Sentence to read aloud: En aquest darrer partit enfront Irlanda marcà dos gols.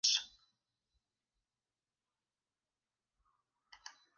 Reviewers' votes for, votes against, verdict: 0, 2, rejected